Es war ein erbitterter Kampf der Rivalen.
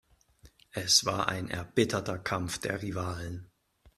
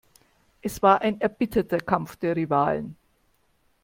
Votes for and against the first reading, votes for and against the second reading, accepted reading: 2, 0, 1, 2, first